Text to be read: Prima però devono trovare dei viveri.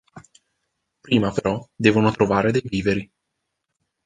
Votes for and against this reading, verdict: 2, 0, accepted